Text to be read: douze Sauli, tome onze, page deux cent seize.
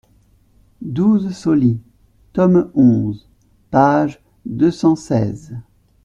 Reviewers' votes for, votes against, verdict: 2, 0, accepted